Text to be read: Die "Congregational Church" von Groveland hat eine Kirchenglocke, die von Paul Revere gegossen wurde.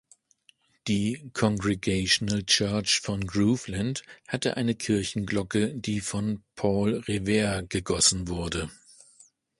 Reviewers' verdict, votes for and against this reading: accepted, 2, 0